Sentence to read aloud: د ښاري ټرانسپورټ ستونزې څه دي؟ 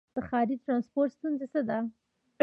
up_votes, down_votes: 1, 2